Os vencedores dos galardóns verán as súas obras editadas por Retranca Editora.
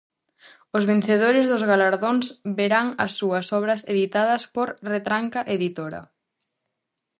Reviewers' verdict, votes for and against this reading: accepted, 2, 0